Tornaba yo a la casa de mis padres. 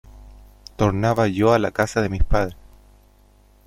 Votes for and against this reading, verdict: 2, 0, accepted